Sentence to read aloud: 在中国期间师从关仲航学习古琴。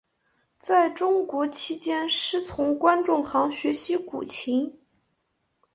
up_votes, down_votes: 3, 0